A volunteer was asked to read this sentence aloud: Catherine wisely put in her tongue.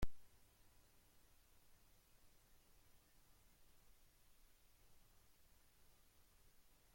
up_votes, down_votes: 0, 2